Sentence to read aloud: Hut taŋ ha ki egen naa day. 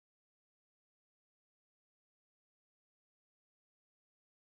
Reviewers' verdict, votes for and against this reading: rejected, 0, 2